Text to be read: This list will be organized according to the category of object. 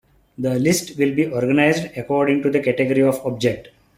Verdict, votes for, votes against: accepted, 2, 0